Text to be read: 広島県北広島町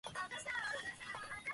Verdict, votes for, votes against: rejected, 0, 2